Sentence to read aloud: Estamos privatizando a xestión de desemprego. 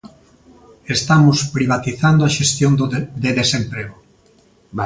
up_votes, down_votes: 0, 2